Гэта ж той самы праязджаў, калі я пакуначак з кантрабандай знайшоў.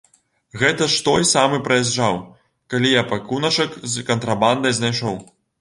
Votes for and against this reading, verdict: 0, 2, rejected